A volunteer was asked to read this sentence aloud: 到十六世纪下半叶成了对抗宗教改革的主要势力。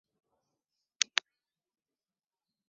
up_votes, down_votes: 0, 2